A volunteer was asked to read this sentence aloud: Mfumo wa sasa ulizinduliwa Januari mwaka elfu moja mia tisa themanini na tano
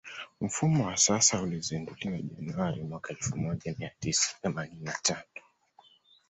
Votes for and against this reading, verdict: 2, 0, accepted